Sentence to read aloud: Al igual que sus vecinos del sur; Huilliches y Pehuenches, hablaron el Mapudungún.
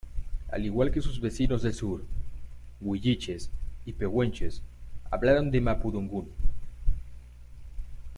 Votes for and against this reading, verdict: 0, 2, rejected